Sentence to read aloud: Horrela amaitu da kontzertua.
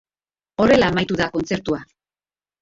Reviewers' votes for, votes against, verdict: 3, 0, accepted